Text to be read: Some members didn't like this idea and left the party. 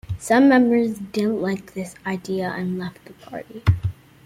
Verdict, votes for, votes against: accepted, 2, 0